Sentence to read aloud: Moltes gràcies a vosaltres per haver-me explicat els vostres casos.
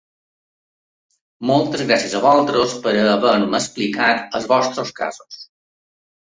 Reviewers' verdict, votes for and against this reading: rejected, 0, 2